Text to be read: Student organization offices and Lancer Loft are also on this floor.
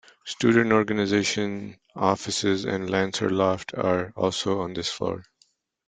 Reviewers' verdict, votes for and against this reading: accepted, 2, 0